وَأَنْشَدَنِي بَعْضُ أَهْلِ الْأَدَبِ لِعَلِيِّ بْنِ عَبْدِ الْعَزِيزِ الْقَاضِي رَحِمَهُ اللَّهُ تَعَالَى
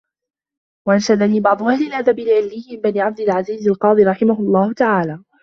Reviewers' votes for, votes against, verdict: 0, 2, rejected